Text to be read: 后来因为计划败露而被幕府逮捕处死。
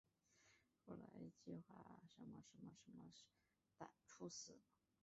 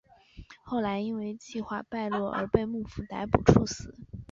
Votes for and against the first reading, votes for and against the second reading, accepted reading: 0, 2, 4, 0, second